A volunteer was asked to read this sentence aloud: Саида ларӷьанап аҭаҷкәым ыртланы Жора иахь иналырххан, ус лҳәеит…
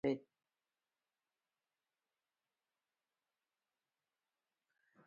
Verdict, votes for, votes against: rejected, 0, 2